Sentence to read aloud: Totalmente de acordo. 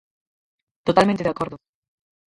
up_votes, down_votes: 2, 4